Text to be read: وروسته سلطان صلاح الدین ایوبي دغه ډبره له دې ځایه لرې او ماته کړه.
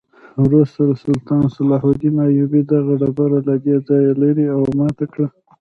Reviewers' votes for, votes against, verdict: 1, 2, rejected